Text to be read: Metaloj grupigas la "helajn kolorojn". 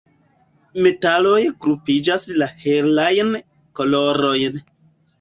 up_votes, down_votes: 1, 2